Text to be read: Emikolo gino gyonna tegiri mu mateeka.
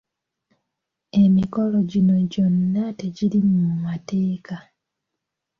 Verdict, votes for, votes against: accepted, 2, 0